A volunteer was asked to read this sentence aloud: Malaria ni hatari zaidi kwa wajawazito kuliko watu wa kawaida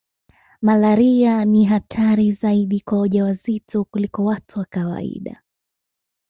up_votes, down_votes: 2, 0